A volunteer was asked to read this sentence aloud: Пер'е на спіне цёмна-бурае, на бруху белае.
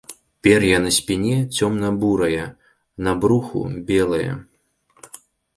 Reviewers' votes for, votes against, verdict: 0, 2, rejected